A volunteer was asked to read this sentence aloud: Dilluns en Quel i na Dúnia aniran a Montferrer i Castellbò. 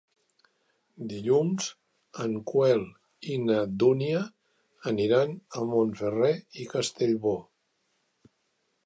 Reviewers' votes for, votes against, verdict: 1, 2, rejected